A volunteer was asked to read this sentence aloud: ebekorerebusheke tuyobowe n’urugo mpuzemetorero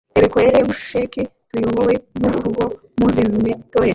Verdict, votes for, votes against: rejected, 0, 2